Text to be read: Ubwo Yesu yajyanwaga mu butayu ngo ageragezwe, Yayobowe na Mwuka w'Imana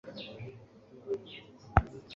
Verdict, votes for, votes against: rejected, 0, 2